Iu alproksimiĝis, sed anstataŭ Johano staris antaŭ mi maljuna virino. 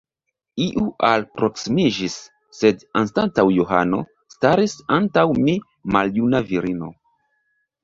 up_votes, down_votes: 0, 2